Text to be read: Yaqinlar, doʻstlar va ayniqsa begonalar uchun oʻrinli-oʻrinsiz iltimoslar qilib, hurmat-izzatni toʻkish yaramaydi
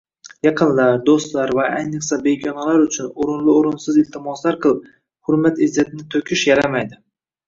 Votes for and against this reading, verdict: 2, 0, accepted